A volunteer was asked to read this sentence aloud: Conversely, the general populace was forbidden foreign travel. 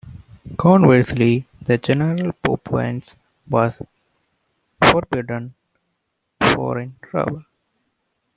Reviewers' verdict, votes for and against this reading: rejected, 0, 2